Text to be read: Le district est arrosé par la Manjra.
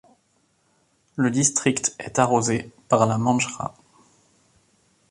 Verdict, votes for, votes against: accepted, 2, 0